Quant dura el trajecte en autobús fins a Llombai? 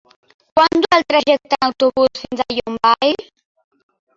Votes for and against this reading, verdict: 1, 2, rejected